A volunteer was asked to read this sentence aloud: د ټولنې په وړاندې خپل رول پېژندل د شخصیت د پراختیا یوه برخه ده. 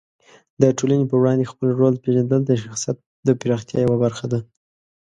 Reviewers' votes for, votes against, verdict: 2, 0, accepted